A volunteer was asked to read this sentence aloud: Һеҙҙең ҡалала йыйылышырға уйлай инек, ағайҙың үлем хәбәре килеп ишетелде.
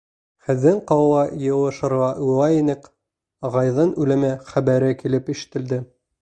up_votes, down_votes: 1, 2